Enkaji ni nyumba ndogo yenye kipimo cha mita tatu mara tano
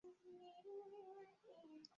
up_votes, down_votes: 0, 4